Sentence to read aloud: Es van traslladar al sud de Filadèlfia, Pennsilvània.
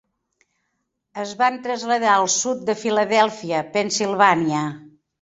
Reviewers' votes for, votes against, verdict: 3, 0, accepted